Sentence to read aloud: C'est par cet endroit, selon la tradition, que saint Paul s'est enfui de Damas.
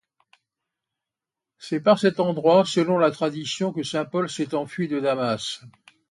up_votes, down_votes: 2, 0